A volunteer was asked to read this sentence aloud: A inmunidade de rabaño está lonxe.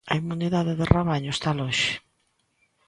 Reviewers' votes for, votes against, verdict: 2, 0, accepted